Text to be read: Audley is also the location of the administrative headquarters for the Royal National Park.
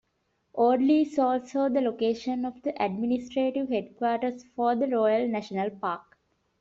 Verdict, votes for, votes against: rejected, 0, 2